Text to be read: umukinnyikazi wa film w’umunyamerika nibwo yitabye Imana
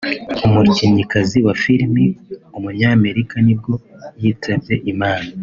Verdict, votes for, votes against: accepted, 3, 0